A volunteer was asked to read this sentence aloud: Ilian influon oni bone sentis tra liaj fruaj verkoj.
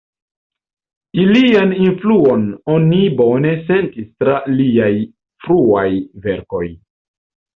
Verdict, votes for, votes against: rejected, 0, 2